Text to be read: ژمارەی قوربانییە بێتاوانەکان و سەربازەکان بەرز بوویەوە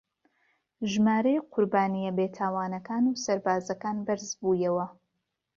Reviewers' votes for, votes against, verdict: 3, 0, accepted